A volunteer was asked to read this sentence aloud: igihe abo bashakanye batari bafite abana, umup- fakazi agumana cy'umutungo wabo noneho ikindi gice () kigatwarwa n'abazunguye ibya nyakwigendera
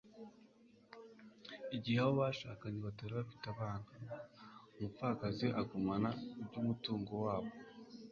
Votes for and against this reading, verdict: 0, 2, rejected